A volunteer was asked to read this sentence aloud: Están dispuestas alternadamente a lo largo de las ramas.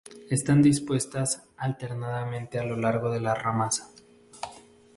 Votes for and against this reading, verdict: 2, 2, rejected